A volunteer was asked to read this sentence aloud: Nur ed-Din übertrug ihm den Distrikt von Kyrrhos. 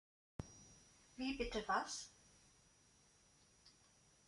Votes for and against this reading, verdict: 0, 2, rejected